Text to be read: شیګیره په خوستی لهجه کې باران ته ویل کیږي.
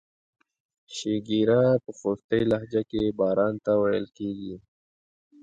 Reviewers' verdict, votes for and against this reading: accepted, 2, 1